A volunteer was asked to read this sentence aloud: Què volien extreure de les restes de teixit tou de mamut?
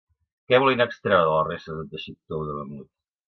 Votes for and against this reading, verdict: 1, 2, rejected